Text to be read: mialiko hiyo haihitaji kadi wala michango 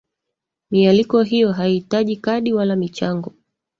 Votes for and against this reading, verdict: 2, 3, rejected